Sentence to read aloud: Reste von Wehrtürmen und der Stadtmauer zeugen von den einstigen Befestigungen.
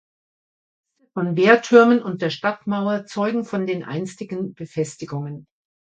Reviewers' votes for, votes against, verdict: 0, 2, rejected